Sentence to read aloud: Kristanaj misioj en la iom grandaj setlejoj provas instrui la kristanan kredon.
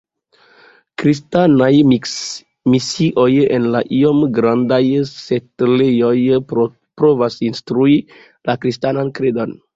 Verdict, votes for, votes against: accepted, 2, 1